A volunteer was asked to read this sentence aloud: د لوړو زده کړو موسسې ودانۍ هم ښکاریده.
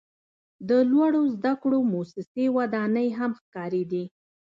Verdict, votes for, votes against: rejected, 1, 2